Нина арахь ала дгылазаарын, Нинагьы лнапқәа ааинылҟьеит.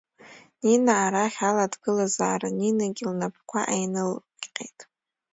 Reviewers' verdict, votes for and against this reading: rejected, 1, 2